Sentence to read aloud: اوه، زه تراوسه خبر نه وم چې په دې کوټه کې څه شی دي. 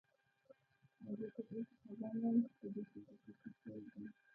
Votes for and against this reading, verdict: 0, 2, rejected